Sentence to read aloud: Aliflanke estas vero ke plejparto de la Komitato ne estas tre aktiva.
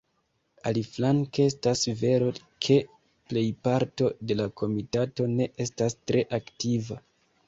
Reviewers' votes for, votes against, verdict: 1, 2, rejected